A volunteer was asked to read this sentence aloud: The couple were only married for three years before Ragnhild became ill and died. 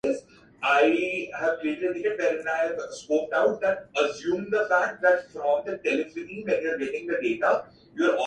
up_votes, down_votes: 0, 2